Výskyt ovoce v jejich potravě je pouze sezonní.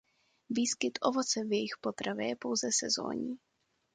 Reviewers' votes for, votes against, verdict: 2, 0, accepted